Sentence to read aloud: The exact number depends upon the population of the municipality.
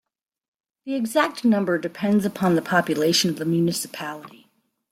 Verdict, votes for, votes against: accepted, 2, 0